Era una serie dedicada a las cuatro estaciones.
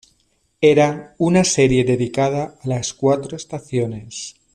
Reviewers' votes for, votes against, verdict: 1, 2, rejected